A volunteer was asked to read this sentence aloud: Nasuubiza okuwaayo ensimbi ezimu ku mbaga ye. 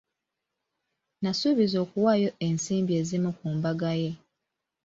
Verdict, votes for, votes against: accepted, 2, 0